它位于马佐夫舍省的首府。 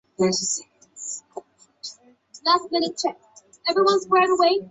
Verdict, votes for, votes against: rejected, 0, 2